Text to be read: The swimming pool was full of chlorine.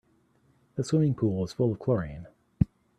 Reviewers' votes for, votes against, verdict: 2, 0, accepted